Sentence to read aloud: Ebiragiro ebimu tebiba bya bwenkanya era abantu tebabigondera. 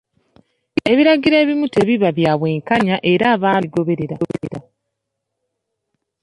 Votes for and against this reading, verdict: 0, 2, rejected